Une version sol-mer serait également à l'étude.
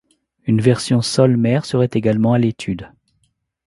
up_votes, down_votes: 2, 0